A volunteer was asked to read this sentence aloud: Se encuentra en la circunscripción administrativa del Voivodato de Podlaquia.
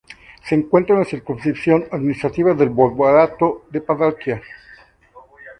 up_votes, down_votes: 0, 2